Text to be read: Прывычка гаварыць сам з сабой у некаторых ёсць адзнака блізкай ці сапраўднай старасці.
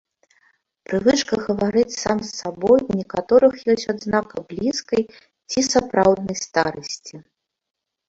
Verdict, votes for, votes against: rejected, 0, 2